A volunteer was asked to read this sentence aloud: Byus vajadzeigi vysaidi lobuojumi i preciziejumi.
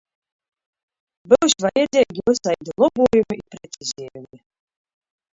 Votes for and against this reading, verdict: 0, 2, rejected